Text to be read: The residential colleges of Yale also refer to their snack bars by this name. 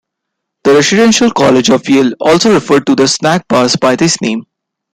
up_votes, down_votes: 2, 0